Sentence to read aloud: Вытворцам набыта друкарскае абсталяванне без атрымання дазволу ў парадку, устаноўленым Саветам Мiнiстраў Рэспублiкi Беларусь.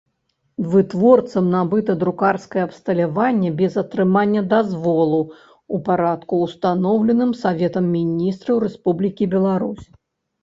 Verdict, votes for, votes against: rejected, 1, 2